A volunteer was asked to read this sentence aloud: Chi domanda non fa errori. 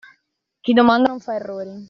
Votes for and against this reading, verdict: 1, 2, rejected